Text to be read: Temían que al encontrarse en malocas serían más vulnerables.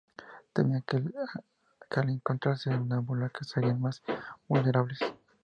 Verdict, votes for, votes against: rejected, 0, 2